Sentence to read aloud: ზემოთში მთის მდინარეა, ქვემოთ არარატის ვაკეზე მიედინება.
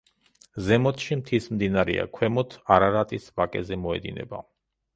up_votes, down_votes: 0, 2